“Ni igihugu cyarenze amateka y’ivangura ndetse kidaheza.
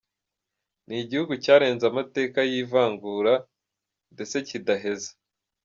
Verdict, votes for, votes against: accepted, 2, 0